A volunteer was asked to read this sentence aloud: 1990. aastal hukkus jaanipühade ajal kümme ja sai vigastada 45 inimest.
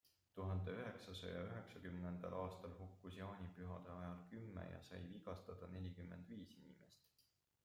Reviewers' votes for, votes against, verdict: 0, 2, rejected